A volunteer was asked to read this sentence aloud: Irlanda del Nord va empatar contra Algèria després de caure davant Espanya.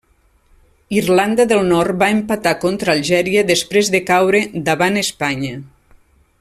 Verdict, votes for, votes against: accepted, 3, 0